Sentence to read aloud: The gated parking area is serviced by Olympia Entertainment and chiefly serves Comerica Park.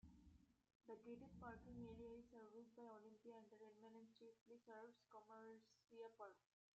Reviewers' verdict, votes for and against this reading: rejected, 0, 2